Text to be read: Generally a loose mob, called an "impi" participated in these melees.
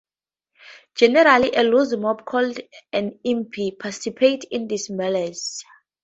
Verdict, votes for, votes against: rejected, 0, 2